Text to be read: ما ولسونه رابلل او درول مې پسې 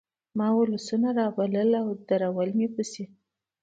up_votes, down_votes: 3, 1